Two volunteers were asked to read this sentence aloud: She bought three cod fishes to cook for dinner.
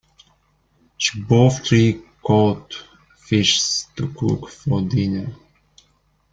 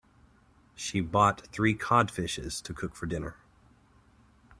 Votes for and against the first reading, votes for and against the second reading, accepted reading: 0, 2, 2, 0, second